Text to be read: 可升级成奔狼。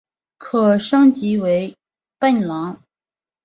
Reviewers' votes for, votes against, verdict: 1, 2, rejected